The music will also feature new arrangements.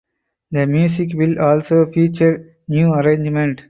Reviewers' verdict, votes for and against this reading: rejected, 0, 4